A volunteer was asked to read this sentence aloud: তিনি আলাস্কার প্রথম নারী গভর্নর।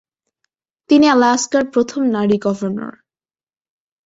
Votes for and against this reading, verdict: 3, 0, accepted